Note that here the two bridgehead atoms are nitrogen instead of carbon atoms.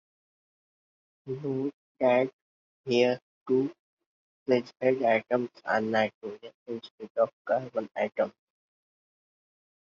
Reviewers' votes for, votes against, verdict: 0, 2, rejected